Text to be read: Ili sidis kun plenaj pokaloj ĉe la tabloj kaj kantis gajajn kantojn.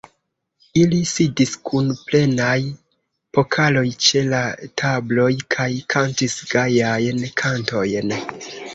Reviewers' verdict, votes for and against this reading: accepted, 2, 0